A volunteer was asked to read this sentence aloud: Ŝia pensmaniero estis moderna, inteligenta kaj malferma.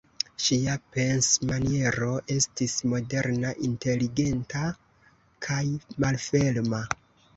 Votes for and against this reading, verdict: 1, 2, rejected